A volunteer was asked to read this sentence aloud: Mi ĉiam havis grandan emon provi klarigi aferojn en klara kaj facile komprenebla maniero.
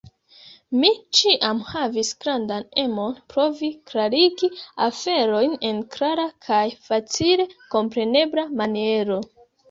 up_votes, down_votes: 0, 2